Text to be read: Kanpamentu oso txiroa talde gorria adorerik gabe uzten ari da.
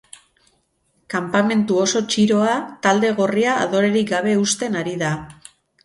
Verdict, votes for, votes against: accepted, 6, 0